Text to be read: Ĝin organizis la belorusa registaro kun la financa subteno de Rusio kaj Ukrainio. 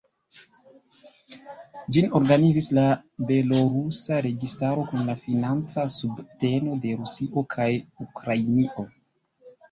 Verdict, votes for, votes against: accepted, 2, 1